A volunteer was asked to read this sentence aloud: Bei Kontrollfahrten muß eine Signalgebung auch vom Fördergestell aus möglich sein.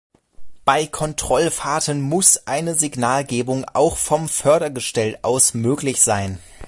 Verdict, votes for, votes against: accepted, 2, 0